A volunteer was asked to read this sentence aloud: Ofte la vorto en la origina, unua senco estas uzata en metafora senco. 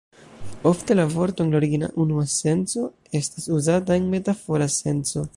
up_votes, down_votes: 1, 2